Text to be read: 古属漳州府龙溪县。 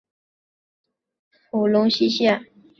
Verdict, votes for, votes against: rejected, 0, 3